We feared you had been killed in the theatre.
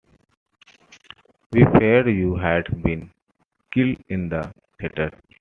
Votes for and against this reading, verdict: 0, 2, rejected